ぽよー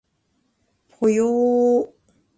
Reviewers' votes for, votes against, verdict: 3, 0, accepted